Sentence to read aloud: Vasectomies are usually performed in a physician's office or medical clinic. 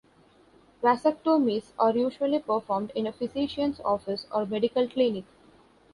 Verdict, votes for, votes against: rejected, 0, 2